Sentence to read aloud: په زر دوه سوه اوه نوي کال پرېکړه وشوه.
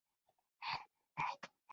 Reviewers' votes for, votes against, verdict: 1, 2, rejected